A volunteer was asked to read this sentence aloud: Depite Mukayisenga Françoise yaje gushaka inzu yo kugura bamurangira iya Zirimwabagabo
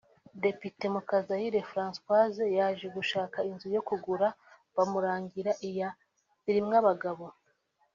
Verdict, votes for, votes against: rejected, 1, 2